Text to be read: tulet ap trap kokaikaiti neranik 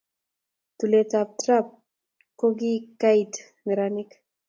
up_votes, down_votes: 0, 2